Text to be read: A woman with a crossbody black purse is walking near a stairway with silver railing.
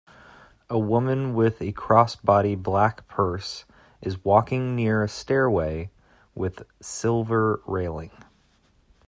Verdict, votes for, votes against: accepted, 2, 0